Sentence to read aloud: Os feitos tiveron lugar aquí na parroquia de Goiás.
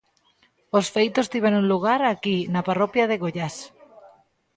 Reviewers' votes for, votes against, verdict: 1, 2, rejected